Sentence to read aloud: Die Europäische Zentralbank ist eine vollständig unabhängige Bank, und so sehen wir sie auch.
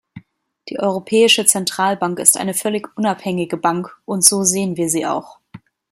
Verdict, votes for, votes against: rejected, 0, 2